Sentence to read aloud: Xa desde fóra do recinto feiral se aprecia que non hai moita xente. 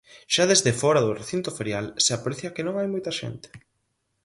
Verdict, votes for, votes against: rejected, 0, 4